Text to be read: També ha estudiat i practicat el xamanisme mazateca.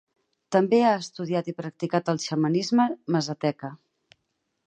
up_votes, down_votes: 8, 0